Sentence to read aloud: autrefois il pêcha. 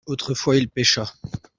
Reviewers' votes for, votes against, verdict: 2, 0, accepted